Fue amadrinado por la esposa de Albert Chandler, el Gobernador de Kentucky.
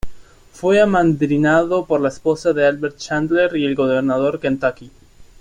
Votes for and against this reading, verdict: 0, 2, rejected